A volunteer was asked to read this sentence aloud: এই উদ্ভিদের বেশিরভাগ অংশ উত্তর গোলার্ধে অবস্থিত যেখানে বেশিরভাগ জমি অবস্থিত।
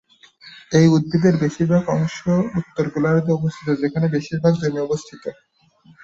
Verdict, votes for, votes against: rejected, 2, 2